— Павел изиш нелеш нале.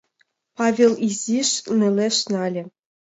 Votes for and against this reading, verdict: 2, 0, accepted